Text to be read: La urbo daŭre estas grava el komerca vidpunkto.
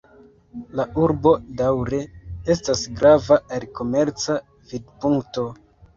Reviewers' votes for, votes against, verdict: 1, 2, rejected